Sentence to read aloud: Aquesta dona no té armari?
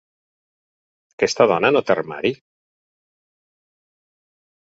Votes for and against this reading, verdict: 4, 0, accepted